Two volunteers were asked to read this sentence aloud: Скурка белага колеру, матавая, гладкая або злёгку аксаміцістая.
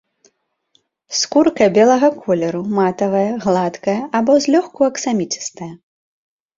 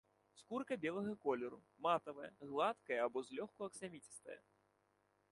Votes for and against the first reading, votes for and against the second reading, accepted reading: 2, 0, 1, 3, first